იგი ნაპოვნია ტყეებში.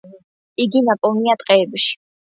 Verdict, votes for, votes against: accepted, 2, 0